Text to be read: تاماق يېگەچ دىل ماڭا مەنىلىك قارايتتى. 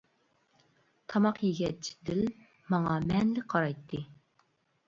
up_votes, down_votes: 2, 1